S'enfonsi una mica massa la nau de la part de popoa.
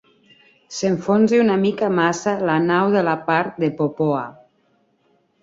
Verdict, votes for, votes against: accepted, 2, 0